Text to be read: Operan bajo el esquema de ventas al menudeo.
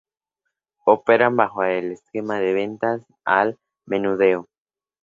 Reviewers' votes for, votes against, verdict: 2, 0, accepted